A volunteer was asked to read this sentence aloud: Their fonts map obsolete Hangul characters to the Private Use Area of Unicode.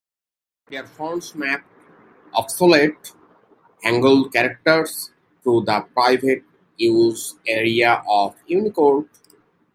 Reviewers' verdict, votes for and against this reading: accepted, 2, 1